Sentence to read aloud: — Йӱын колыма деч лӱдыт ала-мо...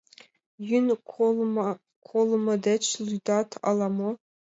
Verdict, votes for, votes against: accepted, 2, 0